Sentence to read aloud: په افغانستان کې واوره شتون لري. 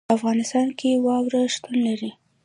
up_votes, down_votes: 2, 0